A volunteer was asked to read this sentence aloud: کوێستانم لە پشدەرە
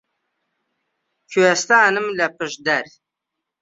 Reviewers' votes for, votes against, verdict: 0, 2, rejected